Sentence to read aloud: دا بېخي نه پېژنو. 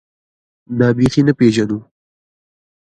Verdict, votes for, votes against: rejected, 1, 2